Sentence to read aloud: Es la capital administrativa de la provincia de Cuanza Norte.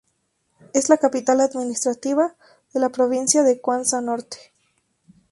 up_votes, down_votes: 2, 0